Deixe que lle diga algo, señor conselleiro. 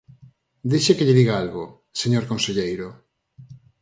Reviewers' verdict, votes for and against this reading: accepted, 4, 0